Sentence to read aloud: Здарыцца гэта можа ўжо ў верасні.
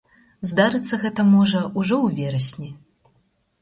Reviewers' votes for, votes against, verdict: 4, 0, accepted